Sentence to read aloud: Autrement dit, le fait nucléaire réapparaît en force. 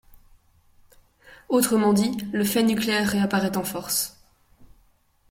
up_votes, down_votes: 2, 0